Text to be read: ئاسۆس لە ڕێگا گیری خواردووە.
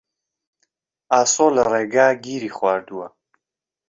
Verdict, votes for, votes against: rejected, 1, 2